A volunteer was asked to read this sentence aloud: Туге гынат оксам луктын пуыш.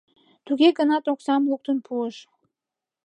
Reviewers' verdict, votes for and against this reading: accepted, 2, 0